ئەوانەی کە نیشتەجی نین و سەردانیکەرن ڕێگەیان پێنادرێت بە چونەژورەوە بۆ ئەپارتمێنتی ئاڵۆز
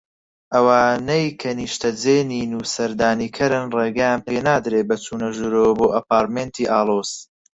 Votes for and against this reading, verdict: 0, 4, rejected